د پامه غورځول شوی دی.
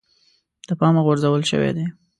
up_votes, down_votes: 2, 0